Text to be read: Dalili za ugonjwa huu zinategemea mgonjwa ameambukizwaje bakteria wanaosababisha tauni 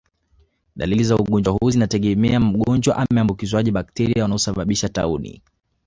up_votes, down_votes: 2, 0